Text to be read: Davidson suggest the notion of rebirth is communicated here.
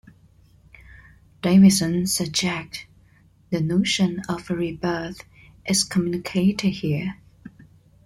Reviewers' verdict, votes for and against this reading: rejected, 0, 2